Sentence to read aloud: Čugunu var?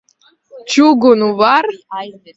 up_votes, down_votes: 1, 2